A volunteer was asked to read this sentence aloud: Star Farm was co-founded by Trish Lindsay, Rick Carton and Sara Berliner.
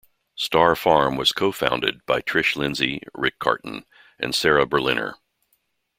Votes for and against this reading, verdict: 2, 0, accepted